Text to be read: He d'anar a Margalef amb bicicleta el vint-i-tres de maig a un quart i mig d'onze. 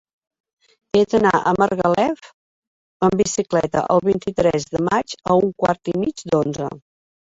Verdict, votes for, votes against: accepted, 3, 1